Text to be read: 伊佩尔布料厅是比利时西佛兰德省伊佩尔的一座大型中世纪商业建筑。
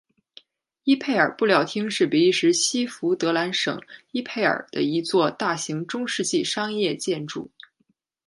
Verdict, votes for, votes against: accepted, 2, 1